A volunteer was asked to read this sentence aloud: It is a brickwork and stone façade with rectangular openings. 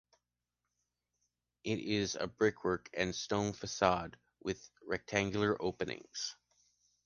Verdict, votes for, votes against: accepted, 2, 0